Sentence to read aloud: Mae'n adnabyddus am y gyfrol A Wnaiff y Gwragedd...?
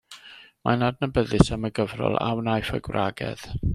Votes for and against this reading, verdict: 2, 0, accepted